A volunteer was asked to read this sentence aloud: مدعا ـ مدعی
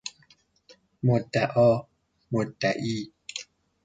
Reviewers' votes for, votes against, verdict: 2, 0, accepted